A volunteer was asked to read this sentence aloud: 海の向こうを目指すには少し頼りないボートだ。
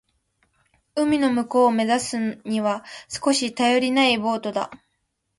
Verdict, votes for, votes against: accepted, 2, 0